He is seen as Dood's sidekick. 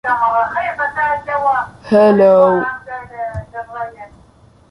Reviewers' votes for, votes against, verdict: 0, 2, rejected